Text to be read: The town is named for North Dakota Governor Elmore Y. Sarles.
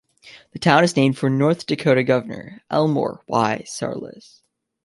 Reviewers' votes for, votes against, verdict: 2, 0, accepted